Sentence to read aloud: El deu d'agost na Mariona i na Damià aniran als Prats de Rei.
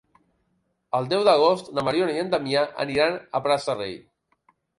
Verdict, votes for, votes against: rejected, 1, 2